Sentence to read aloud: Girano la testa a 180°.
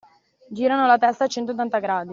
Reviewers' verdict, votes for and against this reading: rejected, 0, 2